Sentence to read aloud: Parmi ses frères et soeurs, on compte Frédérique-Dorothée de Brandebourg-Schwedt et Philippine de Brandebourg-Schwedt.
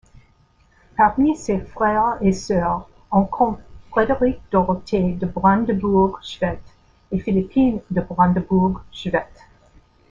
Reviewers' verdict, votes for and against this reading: accepted, 2, 0